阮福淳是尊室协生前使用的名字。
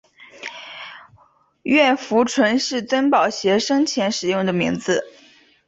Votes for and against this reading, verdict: 1, 2, rejected